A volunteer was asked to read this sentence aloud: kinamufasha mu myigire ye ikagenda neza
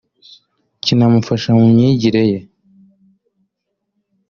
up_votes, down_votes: 1, 2